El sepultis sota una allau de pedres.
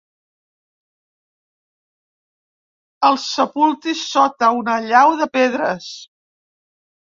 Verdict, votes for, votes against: accepted, 2, 0